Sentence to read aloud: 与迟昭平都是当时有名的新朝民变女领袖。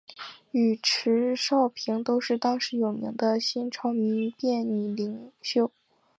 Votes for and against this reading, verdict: 2, 0, accepted